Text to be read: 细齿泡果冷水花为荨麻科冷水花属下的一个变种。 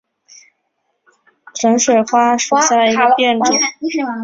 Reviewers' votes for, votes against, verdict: 4, 7, rejected